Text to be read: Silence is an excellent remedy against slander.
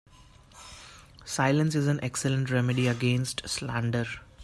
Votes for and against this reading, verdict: 2, 0, accepted